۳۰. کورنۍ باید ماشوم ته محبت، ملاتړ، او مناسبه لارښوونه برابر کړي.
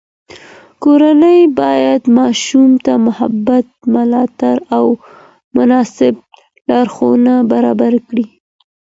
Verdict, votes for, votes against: rejected, 0, 2